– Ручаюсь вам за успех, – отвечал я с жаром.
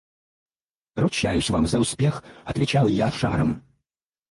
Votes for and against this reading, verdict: 2, 4, rejected